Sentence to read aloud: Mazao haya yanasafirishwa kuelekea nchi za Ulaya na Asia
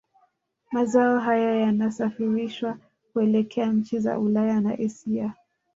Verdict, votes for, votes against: accepted, 2, 0